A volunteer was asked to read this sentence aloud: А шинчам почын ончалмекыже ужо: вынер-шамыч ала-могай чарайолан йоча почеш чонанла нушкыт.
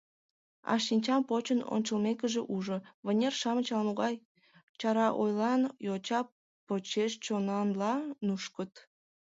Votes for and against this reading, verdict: 0, 3, rejected